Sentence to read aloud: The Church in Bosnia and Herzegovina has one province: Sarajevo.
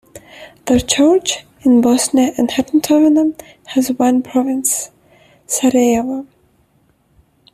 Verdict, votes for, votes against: rejected, 0, 2